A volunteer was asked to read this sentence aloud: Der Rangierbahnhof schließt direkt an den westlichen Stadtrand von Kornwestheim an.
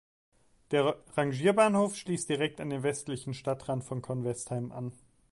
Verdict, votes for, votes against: rejected, 1, 3